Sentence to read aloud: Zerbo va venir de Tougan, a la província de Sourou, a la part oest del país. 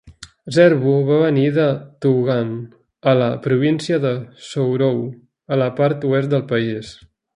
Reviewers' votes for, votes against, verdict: 2, 0, accepted